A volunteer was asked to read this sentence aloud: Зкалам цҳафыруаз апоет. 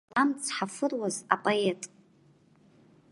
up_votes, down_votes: 1, 2